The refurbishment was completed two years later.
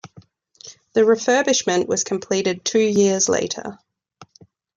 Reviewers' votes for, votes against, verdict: 2, 0, accepted